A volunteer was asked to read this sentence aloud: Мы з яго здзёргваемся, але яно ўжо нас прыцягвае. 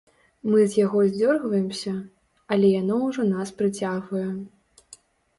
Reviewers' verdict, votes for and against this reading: accepted, 3, 0